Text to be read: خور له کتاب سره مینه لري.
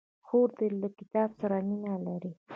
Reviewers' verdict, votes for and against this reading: accepted, 2, 0